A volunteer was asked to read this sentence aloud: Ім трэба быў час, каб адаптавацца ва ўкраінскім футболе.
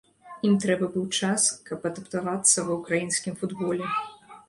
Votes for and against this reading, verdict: 1, 2, rejected